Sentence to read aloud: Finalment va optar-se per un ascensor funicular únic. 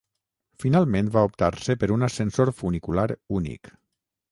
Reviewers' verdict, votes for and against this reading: rejected, 3, 3